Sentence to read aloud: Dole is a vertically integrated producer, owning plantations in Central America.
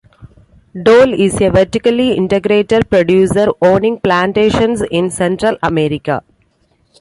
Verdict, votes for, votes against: accepted, 2, 0